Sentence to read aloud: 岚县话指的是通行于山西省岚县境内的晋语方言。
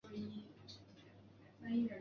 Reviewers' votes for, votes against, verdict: 0, 4, rejected